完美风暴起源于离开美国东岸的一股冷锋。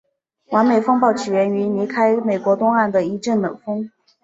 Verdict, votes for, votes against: rejected, 0, 3